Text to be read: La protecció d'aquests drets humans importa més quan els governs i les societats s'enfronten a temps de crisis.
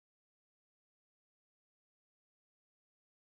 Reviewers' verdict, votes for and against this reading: rejected, 0, 2